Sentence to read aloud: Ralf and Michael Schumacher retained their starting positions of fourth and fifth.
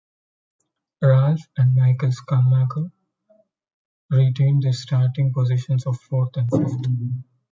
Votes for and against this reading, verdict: 0, 2, rejected